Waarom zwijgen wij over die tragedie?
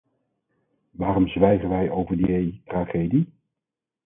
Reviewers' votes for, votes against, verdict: 2, 4, rejected